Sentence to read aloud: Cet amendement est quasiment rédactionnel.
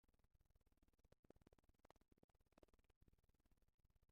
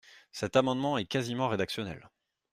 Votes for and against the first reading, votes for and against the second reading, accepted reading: 0, 2, 2, 0, second